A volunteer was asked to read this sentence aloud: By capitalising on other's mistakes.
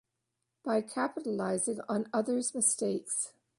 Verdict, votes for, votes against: accepted, 2, 0